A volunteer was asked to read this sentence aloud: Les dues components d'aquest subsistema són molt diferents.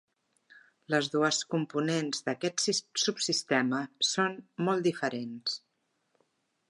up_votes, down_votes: 1, 2